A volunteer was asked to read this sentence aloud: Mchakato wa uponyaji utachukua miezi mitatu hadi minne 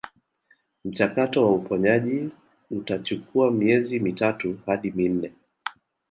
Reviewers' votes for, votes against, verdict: 0, 2, rejected